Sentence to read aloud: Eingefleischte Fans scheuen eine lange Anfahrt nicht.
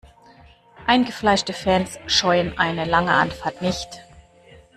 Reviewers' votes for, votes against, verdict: 2, 0, accepted